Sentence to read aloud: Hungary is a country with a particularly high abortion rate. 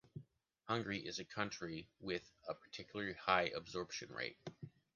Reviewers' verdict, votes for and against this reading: rejected, 0, 2